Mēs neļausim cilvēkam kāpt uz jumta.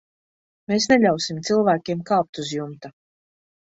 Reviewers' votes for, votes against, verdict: 0, 2, rejected